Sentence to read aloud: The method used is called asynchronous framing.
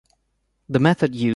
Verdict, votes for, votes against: rejected, 1, 2